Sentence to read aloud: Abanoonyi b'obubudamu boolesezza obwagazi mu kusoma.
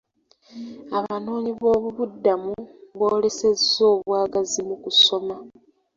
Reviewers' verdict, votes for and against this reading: accepted, 2, 0